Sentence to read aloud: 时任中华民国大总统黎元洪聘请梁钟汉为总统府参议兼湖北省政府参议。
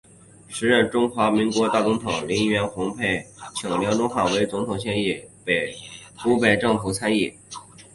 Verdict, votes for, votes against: rejected, 2, 3